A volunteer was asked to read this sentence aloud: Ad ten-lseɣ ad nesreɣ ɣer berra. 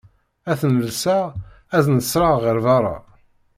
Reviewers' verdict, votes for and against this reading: accepted, 2, 0